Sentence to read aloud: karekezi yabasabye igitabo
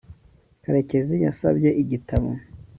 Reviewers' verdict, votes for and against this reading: accepted, 2, 1